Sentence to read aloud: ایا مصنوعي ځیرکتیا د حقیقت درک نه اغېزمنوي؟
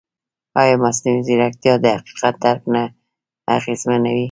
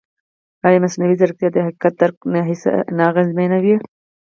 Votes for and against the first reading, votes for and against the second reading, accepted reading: 2, 0, 2, 4, first